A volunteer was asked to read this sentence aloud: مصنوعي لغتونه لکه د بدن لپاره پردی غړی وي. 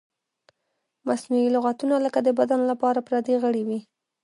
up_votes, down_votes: 1, 2